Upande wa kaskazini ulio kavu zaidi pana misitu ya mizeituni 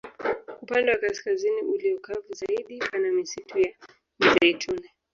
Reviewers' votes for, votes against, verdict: 2, 0, accepted